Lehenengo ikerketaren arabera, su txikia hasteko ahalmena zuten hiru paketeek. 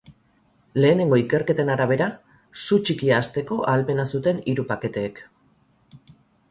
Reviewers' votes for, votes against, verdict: 2, 2, rejected